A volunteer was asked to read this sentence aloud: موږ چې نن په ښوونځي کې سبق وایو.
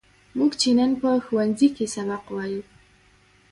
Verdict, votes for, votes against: accepted, 2, 1